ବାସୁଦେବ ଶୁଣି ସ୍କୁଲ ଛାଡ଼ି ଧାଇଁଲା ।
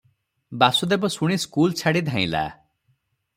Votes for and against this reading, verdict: 3, 0, accepted